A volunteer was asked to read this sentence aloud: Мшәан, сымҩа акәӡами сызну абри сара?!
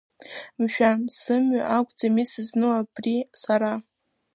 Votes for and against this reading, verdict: 1, 2, rejected